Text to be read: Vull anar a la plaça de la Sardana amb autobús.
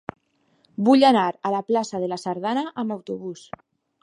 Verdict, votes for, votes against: accepted, 2, 0